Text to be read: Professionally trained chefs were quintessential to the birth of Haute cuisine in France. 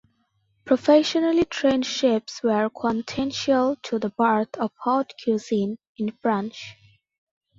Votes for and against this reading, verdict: 0, 2, rejected